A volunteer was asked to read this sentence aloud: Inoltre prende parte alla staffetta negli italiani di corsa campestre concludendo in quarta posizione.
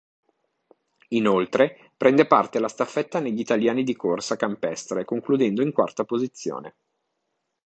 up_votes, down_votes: 2, 0